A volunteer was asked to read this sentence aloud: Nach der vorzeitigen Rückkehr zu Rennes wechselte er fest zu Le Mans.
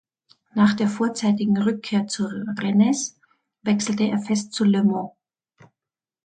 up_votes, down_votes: 0, 2